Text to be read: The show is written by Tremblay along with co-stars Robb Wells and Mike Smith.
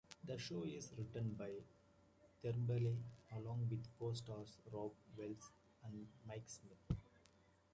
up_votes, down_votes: 2, 0